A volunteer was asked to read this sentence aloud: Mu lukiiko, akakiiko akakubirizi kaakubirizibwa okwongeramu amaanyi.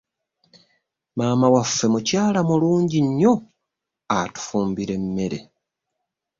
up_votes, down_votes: 0, 2